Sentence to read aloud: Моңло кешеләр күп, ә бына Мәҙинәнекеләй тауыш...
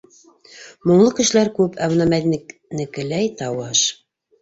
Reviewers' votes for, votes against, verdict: 0, 2, rejected